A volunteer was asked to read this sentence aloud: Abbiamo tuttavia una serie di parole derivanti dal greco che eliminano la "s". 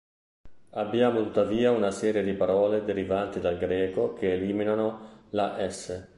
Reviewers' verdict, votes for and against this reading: rejected, 0, 2